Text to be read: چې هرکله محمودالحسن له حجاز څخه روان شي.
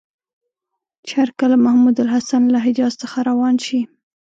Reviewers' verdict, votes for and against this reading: accepted, 2, 0